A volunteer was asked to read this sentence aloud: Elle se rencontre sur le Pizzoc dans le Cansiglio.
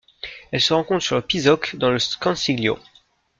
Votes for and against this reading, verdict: 1, 2, rejected